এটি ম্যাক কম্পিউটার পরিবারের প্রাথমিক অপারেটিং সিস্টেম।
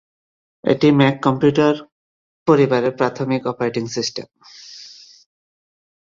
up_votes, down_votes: 2, 0